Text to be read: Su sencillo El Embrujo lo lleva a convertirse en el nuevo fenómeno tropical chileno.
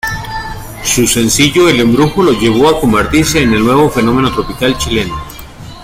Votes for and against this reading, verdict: 3, 0, accepted